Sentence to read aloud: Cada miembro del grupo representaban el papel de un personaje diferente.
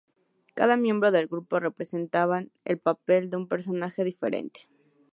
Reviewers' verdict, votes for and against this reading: accepted, 2, 0